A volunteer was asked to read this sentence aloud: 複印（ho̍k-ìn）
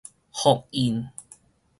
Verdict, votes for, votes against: accepted, 4, 0